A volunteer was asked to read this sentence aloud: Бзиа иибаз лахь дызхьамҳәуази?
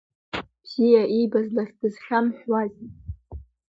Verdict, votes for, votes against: rejected, 1, 2